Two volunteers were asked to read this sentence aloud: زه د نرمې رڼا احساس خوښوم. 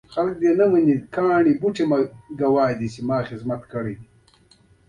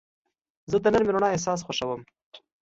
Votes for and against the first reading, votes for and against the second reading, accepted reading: 0, 2, 3, 0, second